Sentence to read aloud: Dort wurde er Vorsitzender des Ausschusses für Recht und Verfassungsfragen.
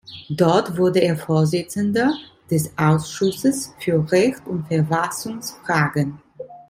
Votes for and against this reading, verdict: 2, 0, accepted